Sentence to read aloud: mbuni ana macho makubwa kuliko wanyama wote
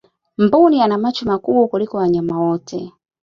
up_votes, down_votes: 3, 0